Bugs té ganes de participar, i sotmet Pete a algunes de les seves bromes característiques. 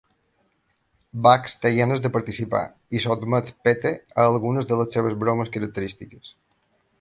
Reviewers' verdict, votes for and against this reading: rejected, 0, 2